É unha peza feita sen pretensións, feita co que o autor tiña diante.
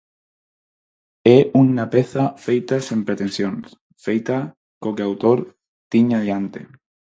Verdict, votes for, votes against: rejected, 0, 4